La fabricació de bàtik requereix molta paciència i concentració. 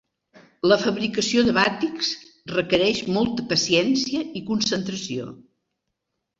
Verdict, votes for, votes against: rejected, 1, 2